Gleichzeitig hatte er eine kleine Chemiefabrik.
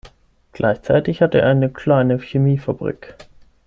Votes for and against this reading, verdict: 6, 3, accepted